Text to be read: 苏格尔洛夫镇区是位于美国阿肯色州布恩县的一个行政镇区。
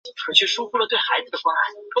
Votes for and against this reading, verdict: 0, 2, rejected